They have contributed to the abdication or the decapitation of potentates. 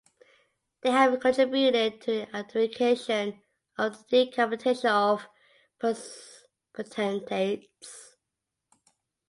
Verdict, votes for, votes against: accepted, 2, 0